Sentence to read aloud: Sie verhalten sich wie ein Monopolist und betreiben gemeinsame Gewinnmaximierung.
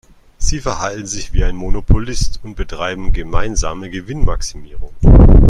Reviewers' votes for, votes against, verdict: 2, 0, accepted